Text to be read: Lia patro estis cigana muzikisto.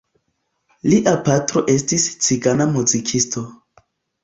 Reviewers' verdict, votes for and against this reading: accepted, 2, 0